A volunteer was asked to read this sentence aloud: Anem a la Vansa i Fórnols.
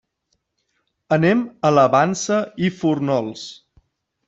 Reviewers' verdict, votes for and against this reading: rejected, 1, 2